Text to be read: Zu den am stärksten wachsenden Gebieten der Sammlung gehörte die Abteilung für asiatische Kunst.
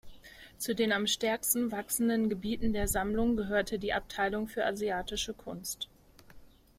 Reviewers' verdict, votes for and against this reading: accepted, 2, 0